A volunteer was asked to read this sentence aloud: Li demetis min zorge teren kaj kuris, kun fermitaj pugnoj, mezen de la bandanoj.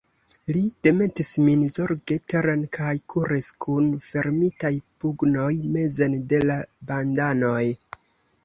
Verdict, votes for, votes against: accepted, 2, 0